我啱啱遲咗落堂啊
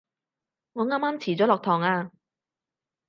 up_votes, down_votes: 6, 0